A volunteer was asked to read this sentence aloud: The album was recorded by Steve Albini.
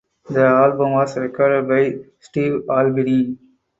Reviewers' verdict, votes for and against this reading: accepted, 4, 0